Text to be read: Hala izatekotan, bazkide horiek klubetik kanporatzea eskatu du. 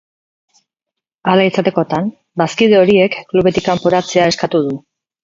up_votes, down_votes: 2, 2